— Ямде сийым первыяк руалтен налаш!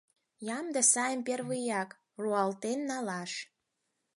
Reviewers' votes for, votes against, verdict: 0, 4, rejected